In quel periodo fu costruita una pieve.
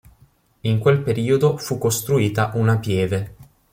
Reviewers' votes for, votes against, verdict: 2, 0, accepted